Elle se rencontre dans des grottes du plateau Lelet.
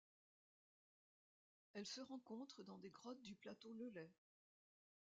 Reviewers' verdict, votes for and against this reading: rejected, 0, 2